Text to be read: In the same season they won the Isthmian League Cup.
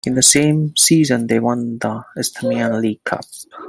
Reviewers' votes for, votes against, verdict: 2, 0, accepted